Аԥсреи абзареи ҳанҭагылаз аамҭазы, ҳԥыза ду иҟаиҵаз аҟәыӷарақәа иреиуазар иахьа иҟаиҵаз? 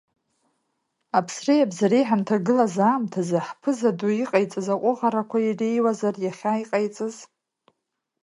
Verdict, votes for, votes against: rejected, 1, 2